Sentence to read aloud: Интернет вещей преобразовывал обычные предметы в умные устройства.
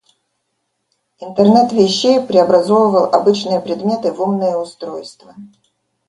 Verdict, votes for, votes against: accepted, 2, 0